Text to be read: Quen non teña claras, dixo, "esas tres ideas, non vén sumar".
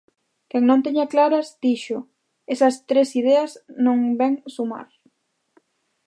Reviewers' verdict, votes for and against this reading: accepted, 2, 0